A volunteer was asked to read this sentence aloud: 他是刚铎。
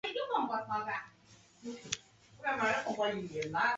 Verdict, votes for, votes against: rejected, 0, 3